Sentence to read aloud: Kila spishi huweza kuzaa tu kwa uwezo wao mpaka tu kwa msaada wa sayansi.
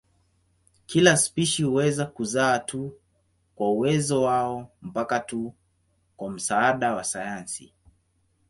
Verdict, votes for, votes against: accepted, 16, 3